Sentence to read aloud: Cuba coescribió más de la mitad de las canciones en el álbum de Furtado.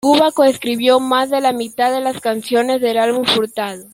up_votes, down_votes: 0, 2